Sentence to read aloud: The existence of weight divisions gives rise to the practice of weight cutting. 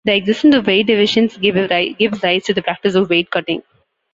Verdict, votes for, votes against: rejected, 0, 2